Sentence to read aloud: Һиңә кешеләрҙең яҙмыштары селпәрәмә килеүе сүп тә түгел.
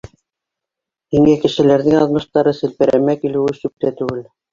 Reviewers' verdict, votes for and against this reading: rejected, 0, 2